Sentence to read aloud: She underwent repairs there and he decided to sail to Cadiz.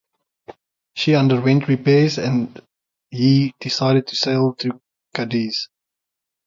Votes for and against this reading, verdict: 3, 0, accepted